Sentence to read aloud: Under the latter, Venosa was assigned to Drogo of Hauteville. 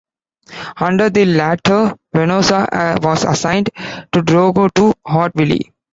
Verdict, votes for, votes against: rejected, 0, 2